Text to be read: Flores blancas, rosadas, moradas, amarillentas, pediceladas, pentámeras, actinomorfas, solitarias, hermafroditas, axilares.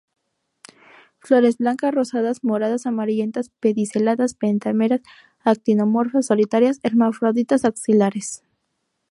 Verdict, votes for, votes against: accepted, 2, 0